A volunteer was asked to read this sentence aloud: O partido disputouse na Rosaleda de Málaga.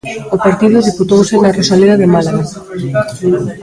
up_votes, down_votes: 0, 2